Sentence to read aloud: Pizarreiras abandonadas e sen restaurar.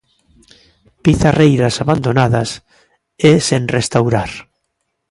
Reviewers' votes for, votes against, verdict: 2, 0, accepted